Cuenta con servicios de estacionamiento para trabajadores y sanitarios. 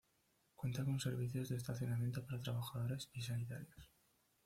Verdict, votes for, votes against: rejected, 1, 2